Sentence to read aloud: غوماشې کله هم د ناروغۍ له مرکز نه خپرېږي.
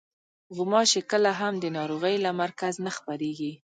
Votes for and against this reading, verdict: 2, 1, accepted